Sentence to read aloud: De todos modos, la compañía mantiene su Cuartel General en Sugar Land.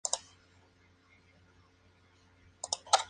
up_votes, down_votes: 0, 4